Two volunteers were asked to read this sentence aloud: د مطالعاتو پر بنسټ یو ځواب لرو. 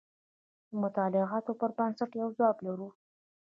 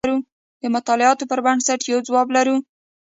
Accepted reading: first